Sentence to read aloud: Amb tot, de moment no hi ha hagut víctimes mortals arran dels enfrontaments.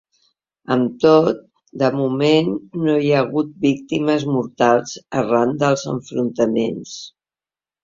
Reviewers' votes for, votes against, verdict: 2, 0, accepted